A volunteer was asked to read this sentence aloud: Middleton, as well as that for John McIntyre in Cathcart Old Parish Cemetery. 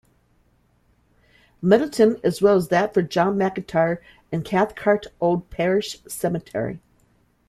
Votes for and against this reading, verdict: 2, 0, accepted